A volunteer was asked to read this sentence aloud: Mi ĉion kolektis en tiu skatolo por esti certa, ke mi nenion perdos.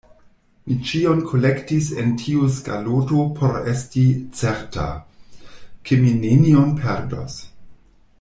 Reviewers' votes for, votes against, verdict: 1, 2, rejected